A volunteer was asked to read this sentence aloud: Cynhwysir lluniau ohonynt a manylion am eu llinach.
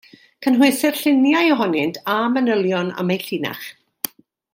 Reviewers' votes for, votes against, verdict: 2, 0, accepted